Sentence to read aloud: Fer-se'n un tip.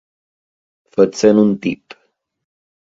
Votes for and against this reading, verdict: 2, 3, rejected